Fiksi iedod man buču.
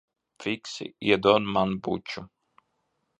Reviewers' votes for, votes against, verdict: 2, 0, accepted